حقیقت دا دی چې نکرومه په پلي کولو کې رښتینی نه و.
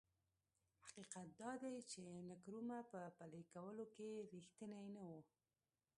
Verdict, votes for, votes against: rejected, 1, 2